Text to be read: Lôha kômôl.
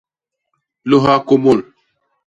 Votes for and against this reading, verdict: 2, 0, accepted